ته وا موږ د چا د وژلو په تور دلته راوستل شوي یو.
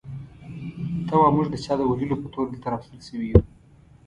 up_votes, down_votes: 0, 2